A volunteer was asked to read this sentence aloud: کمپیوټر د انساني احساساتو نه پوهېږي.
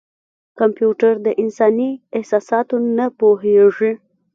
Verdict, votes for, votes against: rejected, 1, 2